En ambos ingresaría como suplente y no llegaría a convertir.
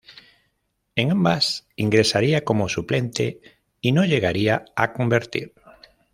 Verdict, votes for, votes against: rejected, 0, 2